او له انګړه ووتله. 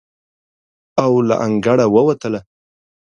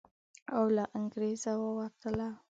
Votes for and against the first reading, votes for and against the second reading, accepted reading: 2, 0, 1, 3, first